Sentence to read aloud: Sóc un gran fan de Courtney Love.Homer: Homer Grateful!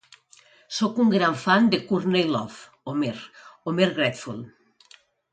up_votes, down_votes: 2, 0